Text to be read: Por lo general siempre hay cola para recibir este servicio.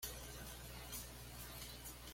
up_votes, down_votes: 1, 2